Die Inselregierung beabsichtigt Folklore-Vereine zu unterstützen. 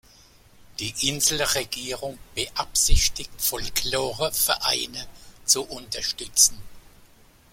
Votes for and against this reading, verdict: 0, 2, rejected